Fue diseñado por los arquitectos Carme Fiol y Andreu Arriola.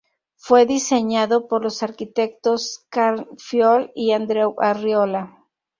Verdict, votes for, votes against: rejected, 0, 2